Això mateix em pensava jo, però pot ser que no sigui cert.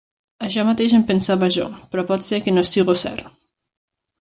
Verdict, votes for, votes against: rejected, 1, 2